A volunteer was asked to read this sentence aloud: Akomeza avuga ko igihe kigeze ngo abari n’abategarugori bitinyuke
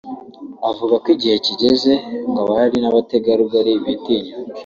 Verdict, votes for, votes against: rejected, 1, 2